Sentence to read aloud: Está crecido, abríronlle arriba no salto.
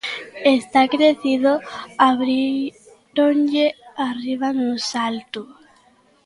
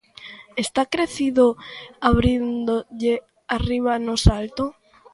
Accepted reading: first